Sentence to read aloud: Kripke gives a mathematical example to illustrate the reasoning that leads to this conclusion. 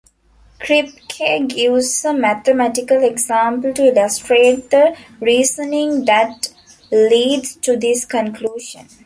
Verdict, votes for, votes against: rejected, 0, 2